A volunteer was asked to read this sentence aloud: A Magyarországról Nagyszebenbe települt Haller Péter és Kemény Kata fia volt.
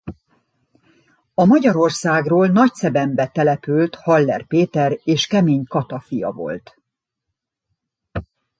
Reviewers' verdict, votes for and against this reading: accepted, 2, 0